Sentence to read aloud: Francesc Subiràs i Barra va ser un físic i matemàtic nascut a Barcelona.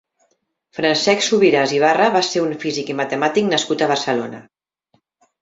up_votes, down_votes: 2, 0